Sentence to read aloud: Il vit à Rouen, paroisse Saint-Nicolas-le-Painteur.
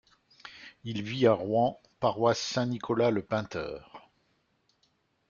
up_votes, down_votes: 2, 0